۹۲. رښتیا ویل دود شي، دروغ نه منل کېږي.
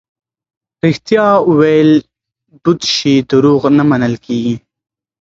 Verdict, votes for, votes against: rejected, 0, 2